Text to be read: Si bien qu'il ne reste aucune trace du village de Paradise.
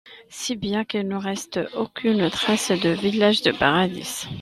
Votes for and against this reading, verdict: 1, 2, rejected